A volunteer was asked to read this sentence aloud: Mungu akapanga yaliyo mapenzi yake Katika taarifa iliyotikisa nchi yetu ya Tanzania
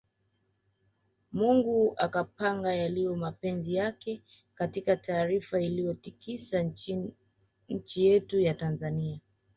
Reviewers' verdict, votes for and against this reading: rejected, 1, 2